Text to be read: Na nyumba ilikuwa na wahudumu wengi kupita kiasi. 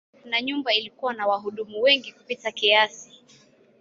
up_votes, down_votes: 2, 0